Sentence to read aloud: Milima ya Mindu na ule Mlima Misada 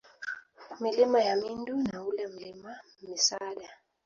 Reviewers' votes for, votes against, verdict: 2, 0, accepted